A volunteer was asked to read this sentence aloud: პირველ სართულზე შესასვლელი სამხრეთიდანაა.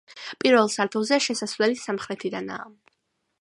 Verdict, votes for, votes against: accepted, 2, 0